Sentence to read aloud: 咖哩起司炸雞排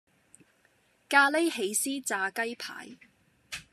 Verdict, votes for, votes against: accepted, 2, 0